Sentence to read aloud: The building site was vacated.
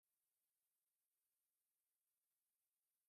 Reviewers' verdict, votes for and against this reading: rejected, 0, 2